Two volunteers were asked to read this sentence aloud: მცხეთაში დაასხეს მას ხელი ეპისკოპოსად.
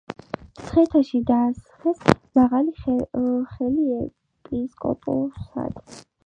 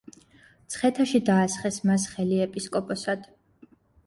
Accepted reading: second